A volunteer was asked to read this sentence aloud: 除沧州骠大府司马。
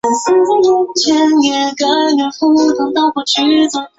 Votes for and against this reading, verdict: 0, 2, rejected